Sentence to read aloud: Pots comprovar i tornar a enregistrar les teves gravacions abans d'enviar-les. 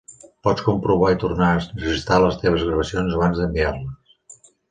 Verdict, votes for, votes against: rejected, 1, 2